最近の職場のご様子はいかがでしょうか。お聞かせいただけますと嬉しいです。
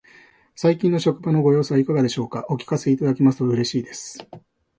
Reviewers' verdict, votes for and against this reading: accepted, 2, 0